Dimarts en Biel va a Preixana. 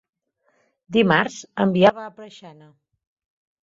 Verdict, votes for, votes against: rejected, 1, 2